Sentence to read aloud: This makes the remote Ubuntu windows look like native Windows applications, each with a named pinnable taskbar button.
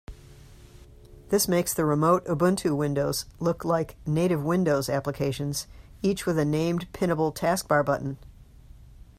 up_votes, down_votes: 2, 0